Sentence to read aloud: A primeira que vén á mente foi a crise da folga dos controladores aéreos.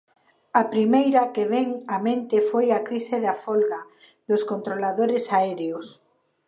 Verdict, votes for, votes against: accepted, 2, 1